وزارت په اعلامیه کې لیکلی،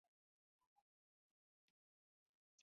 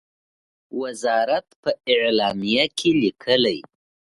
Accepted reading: second